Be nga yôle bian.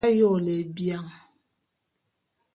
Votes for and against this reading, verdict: 1, 2, rejected